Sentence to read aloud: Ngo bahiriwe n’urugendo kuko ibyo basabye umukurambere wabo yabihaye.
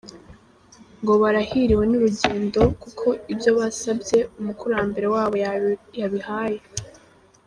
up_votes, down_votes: 1, 2